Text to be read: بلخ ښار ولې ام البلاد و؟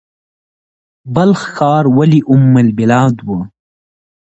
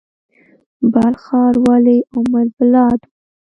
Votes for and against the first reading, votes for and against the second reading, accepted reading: 2, 0, 1, 2, first